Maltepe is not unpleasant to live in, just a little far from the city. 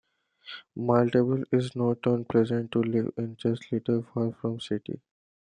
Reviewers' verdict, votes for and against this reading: accepted, 2, 0